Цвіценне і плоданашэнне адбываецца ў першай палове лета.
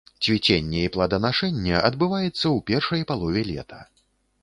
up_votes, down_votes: 3, 0